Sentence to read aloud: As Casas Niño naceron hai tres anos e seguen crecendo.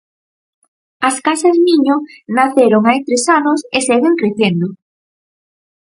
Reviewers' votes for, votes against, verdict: 4, 0, accepted